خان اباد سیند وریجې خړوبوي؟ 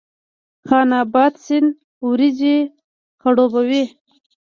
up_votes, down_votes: 1, 2